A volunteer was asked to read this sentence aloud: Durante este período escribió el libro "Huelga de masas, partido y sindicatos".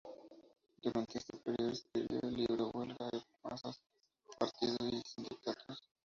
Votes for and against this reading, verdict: 2, 2, rejected